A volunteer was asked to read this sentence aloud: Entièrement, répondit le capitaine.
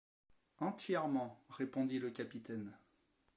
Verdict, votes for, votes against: accepted, 2, 0